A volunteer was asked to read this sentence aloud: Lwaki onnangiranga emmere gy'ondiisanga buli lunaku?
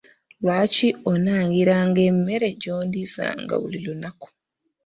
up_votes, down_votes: 1, 2